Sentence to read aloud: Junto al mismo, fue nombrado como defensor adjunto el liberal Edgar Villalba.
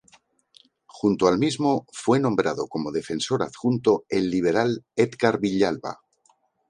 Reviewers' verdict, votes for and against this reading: accepted, 4, 0